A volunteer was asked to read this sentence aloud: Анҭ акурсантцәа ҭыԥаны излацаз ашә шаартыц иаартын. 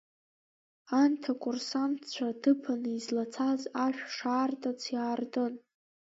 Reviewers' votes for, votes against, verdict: 2, 1, accepted